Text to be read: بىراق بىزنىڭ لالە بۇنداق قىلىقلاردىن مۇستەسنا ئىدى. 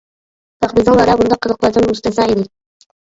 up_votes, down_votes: 0, 2